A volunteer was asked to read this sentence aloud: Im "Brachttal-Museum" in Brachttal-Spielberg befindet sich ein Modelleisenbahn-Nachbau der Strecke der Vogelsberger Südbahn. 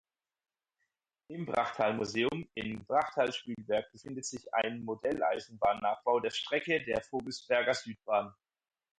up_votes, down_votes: 4, 0